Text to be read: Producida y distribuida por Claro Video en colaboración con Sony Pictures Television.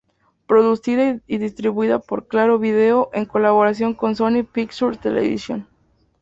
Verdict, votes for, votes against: accepted, 2, 0